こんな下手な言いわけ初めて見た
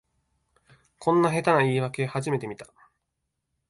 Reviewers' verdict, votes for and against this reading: accepted, 2, 0